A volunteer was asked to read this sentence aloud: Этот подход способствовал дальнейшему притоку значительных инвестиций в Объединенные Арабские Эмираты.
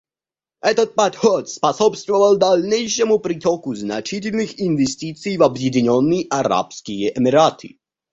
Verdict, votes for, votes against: rejected, 0, 2